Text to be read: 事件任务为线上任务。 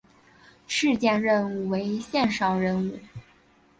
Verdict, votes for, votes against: accepted, 4, 0